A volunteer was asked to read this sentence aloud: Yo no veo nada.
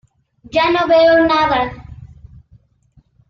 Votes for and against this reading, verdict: 1, 2, rejected